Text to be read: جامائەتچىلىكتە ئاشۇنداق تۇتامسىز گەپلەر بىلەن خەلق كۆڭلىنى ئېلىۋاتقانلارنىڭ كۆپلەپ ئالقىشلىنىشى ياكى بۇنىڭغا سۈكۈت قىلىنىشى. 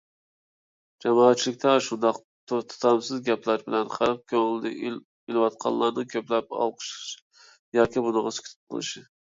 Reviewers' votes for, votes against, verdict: 0, 2, rejected